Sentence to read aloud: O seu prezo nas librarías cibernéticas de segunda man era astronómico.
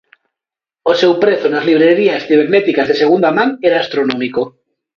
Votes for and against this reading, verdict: 1, 2, rejected